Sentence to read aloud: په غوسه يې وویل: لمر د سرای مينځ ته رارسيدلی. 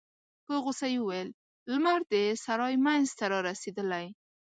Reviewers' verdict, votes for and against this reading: accepted, 2, 0